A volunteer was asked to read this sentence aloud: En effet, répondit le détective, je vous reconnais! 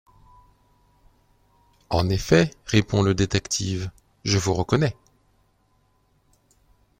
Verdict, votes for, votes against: rejected, 1, 2